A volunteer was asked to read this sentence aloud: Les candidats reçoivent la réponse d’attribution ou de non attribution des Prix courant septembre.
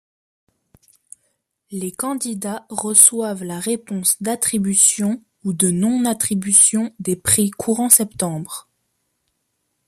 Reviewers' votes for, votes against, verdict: 2, 0, accepted